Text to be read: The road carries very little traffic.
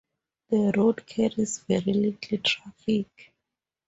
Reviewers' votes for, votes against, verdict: 2, 0, accepted